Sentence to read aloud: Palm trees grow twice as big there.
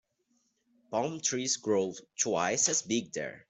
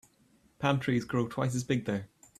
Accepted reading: second